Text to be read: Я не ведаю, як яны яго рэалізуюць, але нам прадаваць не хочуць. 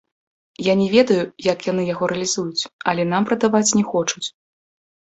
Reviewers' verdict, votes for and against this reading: accepted, 2, 0